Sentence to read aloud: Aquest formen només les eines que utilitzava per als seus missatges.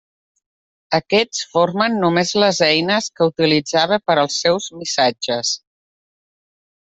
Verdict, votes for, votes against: accepted, 2, 0